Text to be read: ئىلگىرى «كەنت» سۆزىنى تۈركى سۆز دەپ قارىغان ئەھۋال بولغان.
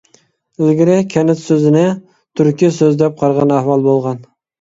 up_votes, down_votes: 2, 0